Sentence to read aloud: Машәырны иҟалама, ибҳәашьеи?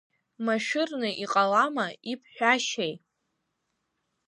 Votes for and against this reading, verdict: 1, 2, rejected